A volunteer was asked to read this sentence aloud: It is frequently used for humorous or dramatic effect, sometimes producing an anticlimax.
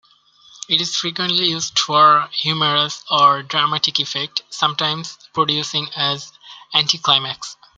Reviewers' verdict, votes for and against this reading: accepted, 2, 0